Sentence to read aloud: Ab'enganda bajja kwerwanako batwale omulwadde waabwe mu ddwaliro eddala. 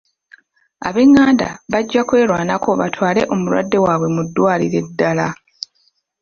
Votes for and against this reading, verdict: 1, 2, rejected